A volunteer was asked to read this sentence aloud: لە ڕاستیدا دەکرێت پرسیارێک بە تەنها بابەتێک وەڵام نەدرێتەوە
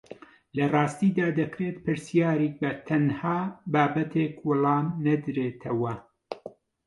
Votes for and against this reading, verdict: 0, 2, rejected